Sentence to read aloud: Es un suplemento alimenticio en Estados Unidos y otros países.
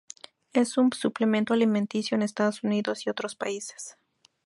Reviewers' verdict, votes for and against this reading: accepted, 2, 0